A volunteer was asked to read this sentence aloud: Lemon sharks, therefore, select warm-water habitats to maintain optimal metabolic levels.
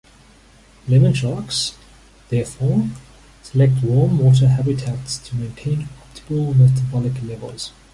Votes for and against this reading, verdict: 1, 2, rejected